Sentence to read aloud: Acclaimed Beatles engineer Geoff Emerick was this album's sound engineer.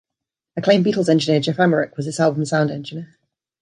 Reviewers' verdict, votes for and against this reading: rejected, 1, 2